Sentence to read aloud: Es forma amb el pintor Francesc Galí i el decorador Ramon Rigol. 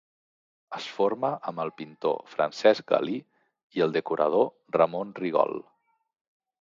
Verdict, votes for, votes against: accepted, 2, 0